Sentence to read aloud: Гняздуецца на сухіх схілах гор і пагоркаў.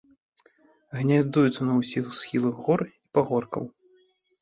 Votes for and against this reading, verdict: 0, 2, rejected